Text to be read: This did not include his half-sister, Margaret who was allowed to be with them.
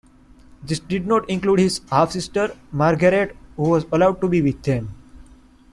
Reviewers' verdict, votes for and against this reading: accepted, 2, 0